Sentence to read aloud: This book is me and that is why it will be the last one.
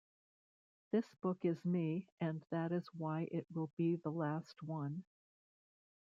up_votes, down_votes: 1, 3